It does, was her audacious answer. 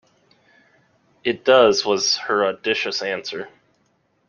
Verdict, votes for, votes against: accepted, 2, 0